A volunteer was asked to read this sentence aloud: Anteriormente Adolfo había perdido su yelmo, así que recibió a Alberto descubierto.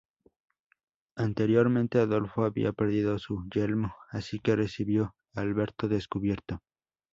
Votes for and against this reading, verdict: 2, 0, accepted